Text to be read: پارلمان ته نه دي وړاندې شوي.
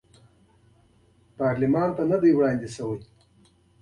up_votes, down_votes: 2, 0